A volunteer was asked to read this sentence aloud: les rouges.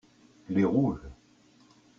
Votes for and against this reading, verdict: 1, 2, rejected